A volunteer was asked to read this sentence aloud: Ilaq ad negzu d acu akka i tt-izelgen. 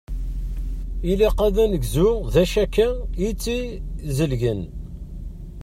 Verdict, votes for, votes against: rejected, 1, 2